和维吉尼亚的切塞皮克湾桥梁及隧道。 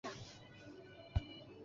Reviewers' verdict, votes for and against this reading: rejected, 0, 2